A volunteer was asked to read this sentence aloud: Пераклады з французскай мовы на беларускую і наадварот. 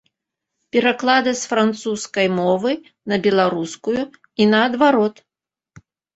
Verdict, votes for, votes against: accepted, 2, 0